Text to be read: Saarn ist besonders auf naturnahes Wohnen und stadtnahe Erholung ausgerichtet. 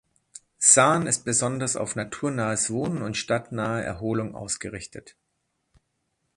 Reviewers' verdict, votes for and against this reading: accepted, 2, 0